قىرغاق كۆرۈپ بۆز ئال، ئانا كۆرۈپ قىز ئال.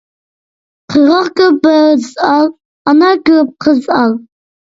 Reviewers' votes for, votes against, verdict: 0, 2, rejected